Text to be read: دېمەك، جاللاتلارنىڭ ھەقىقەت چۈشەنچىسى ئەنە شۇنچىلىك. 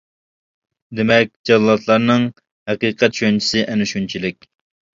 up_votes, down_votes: 2, 0